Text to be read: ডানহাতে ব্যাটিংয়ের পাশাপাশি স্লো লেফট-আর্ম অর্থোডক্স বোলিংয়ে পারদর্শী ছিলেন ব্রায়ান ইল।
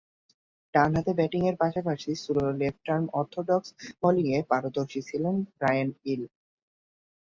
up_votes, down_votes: 2, 0